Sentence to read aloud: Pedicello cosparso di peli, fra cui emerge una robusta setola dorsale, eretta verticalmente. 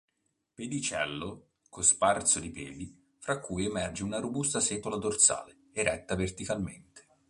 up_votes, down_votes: 2, 0